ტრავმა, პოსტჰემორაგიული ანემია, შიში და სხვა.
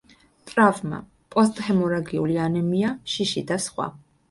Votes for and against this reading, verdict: 2, 0, accepted